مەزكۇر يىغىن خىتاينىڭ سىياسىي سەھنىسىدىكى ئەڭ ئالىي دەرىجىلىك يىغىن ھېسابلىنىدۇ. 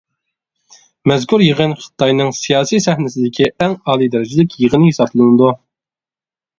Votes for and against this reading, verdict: 2, 0, accepted